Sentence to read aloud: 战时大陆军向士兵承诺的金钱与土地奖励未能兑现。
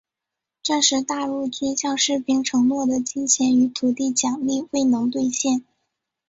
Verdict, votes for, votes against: accepted, 2, 1